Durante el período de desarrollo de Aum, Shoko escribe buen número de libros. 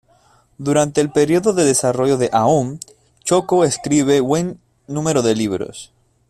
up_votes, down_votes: 2, 0